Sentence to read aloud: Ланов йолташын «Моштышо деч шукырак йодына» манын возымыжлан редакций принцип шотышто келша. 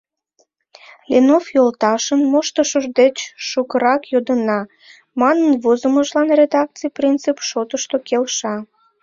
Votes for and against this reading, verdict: 1, 2, rejected